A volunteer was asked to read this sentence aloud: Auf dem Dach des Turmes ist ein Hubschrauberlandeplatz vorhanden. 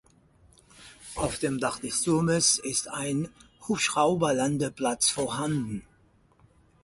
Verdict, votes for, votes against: accepted, 4, 0